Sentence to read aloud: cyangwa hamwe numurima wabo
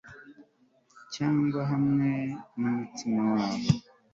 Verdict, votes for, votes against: rejected, 1, 2